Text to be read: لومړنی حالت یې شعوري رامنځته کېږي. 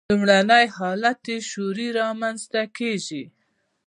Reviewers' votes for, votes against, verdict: 1, 2, rejected